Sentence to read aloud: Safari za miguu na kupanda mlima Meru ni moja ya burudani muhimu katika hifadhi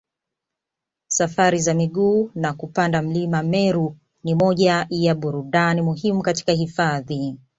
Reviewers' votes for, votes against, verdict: 2, 0, accepted